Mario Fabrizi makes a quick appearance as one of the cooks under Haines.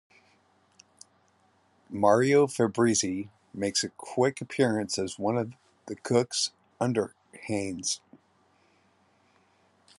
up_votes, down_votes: 2, 0